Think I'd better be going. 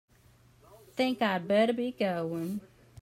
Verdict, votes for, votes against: accepted, 4, 0